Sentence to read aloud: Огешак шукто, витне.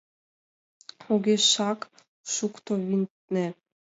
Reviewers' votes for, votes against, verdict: 1, 4, rejected